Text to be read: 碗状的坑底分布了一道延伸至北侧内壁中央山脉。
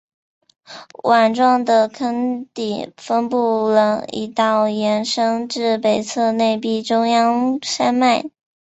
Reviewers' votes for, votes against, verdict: 3, 1, accepted